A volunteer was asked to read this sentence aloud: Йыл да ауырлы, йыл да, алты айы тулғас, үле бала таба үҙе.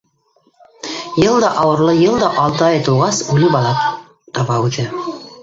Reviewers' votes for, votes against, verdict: 1, 2, rejected